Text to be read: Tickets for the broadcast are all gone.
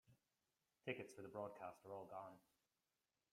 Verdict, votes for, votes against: rejected, 1, 2